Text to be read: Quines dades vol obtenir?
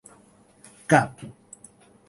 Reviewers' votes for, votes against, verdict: 1, 2, rejected